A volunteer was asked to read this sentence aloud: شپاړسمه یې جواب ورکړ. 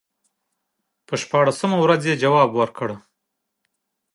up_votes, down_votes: 2, 0